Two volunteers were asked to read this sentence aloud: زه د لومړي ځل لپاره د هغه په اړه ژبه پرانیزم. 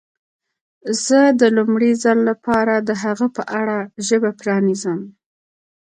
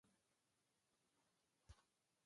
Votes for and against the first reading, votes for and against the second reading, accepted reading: 2, 1, 1, 2, first